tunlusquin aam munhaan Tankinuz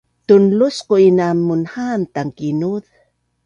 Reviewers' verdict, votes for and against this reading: accepted, 2, 0